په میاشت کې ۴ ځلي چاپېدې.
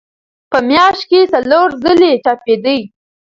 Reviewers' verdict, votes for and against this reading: rejected, 0, 2